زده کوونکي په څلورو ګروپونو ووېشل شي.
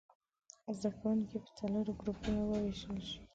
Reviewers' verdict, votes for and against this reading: accepted, 2, 1